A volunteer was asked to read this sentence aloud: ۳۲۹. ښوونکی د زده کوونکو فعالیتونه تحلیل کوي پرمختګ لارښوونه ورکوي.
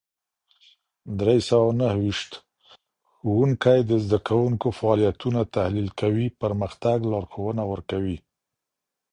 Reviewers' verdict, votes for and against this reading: rejected, 0, 2